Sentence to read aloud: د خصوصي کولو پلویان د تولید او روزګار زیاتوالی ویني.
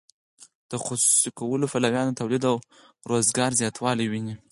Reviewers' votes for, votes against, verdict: 0, 4, rejected